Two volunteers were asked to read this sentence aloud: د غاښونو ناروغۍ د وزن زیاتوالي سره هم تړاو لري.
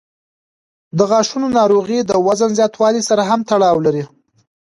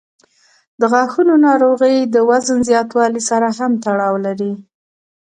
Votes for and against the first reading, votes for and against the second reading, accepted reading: 1, 2, 2, 0, second